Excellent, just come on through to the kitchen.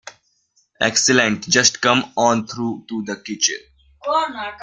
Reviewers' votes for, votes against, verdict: 0, 2, rejected